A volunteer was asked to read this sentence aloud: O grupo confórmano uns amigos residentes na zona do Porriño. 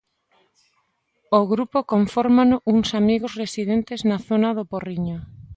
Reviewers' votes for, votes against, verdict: 2, 0, accepted